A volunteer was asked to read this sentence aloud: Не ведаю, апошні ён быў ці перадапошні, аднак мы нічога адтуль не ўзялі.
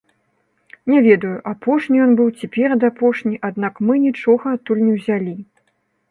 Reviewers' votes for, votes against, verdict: 1, 2, rejected